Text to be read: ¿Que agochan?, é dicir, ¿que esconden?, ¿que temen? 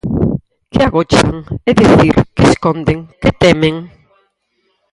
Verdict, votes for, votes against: rejected, 0, 4